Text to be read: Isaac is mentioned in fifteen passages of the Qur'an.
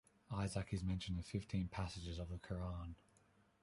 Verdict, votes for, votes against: accepted, 2, 0